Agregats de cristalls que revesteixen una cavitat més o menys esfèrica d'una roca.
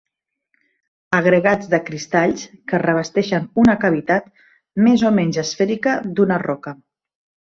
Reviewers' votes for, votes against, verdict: 2, 0, accepted